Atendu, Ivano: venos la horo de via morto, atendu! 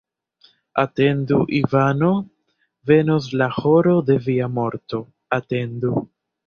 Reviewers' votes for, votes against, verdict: 0, 2, rejected